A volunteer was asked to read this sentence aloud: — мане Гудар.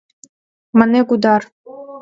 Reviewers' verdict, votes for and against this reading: accepted, 2, 0